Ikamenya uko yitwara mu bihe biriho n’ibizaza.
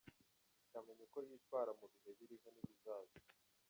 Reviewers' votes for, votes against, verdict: 1, 2, rejected